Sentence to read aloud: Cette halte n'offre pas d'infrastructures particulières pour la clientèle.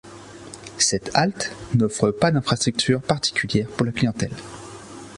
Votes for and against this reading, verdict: 2, 0, accepted